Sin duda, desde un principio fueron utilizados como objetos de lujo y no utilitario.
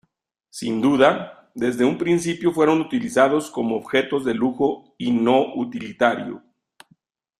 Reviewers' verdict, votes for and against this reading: accepted, 2, 0